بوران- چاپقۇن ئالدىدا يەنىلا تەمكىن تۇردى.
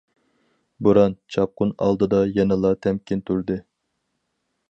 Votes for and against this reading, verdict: 4, 0, accepted